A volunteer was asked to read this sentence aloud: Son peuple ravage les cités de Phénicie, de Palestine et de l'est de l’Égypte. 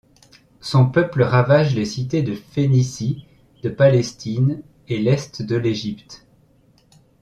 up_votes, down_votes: 1, 2